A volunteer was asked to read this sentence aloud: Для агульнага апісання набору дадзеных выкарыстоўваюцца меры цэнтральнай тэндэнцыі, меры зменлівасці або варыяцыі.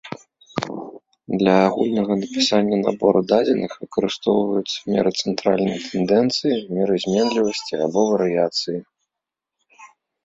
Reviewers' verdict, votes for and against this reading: rejected, 1, 2